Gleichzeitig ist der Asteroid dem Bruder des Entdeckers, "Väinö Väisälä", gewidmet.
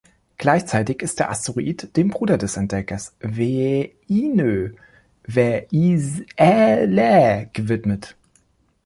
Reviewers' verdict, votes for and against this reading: rejected, 0, 2